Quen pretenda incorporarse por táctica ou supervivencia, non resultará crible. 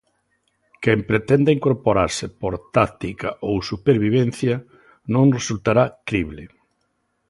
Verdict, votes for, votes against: accepted, 2, 0